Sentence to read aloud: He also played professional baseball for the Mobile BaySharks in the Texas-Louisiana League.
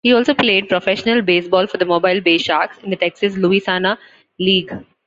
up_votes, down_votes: 0, 2